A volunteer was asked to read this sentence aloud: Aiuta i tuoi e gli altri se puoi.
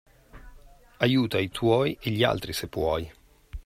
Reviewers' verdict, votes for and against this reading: accepted, 2, 0